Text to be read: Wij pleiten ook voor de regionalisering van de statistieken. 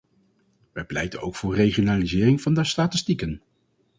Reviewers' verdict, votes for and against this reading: rejected, 0, 2